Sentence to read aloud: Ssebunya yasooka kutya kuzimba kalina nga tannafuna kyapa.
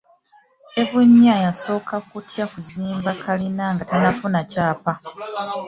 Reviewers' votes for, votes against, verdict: 1, 2, rejected